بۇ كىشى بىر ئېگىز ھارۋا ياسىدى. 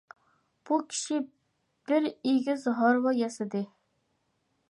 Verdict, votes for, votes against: accepted, 2, 0